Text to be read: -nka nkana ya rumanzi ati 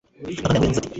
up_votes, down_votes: 1, 2